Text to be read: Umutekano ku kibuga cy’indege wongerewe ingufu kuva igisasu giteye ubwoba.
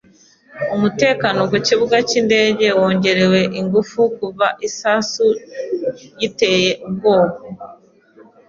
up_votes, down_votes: 2, 0